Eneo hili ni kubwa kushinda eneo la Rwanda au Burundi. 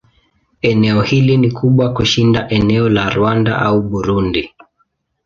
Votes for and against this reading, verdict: 2, 0, accepted